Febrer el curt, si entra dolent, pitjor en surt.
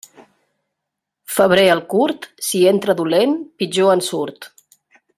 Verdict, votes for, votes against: accepted, 3, 0